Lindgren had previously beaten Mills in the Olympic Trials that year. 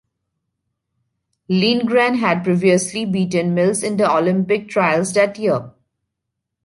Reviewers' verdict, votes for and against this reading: accepted, 2, 1